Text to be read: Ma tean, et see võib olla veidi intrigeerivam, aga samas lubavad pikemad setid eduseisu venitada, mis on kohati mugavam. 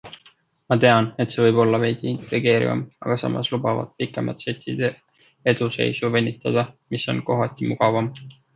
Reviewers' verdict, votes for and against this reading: accepted, 2, 0